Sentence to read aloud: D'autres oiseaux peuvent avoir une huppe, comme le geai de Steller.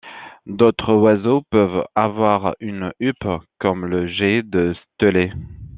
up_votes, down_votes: 1, 2